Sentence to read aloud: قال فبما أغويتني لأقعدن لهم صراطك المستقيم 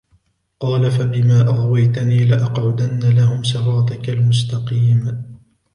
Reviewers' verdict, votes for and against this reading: accepted, 2, 1